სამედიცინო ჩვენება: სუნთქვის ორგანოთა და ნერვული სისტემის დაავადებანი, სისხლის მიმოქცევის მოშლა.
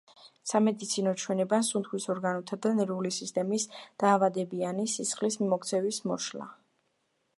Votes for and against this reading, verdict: 1, 2, rejected